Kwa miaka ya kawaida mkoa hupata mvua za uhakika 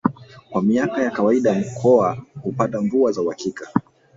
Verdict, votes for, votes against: accepted, 4, 0